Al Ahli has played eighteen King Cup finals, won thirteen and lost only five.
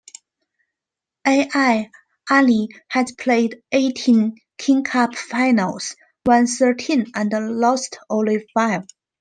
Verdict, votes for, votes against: rejected, 1, 2